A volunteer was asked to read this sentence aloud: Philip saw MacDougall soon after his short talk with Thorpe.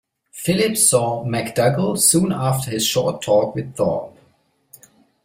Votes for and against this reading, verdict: 2, 0, accepted